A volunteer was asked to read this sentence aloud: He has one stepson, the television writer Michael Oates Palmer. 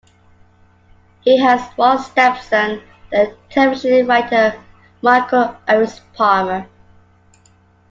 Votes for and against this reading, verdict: 2, 1, accepted